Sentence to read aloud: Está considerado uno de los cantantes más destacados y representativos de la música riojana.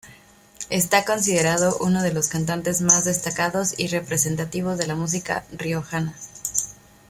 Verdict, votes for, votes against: accepted, 2, 0